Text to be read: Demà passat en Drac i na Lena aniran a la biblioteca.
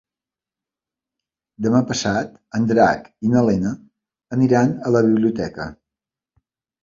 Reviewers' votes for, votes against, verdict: 3, 0, accepted